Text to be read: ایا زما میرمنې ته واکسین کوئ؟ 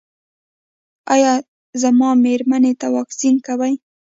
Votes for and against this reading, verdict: 2, 0, accepted